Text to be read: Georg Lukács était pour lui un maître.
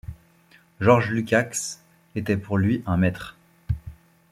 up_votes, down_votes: 2, 0